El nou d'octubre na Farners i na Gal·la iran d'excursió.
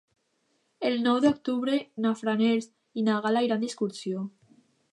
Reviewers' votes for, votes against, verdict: 0, 2, rejected